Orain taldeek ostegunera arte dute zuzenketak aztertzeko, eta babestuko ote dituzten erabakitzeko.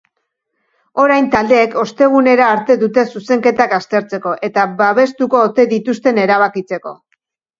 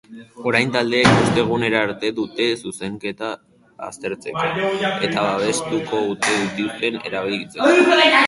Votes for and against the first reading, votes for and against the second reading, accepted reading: 2, 0, 0, 2, first